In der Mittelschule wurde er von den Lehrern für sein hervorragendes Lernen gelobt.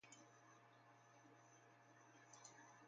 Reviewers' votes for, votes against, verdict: 0, 2, rejected